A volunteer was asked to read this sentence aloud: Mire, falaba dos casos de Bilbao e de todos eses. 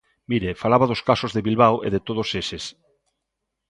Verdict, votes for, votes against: accepted, 2, 0